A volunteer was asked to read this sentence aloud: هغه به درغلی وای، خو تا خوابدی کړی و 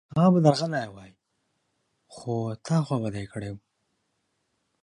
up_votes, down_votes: 2, 1